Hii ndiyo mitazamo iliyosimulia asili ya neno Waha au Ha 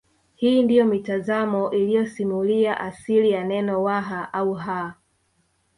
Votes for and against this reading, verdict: 1, 2, rejected